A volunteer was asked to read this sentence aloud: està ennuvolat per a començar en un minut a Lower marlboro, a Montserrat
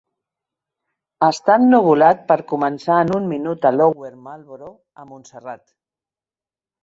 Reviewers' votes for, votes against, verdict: 1, 2, rejected